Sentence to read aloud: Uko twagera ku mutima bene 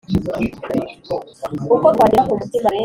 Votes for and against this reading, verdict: 3, 2, accepted